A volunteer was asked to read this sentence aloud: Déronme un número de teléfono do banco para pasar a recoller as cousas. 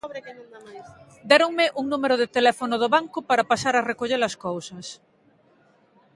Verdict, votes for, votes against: accepted, 2, 0